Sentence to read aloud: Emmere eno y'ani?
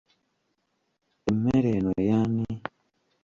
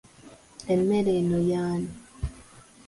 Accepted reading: second